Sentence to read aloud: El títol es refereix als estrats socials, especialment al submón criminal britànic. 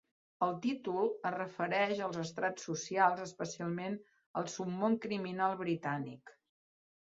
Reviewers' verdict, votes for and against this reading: accepted, 3, 0